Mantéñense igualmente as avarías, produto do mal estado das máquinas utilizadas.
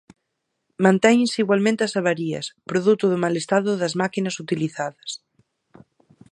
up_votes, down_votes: 4, 0